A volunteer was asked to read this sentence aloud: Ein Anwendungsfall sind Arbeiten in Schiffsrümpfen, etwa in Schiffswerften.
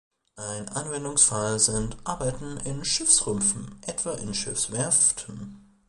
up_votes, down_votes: 1, 2